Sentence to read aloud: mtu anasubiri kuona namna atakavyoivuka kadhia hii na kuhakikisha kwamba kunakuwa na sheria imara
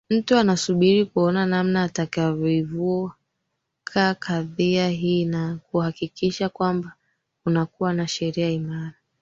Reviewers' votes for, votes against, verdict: 2, 0, accepted